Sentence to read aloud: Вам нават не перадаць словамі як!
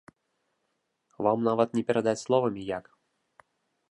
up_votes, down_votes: 2, 0